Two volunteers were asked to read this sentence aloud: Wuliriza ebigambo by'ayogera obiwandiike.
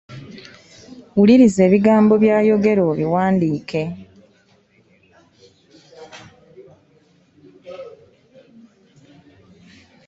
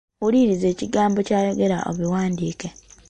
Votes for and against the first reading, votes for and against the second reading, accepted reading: 2, 0, 0, 2, first